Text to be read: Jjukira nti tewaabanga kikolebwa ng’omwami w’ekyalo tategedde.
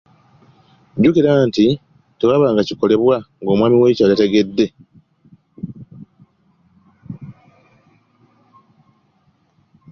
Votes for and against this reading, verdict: 3, 2, accepted